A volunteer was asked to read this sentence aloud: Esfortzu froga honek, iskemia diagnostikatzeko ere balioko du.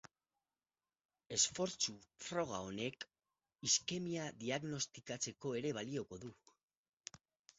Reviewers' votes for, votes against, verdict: 0, 4, rejected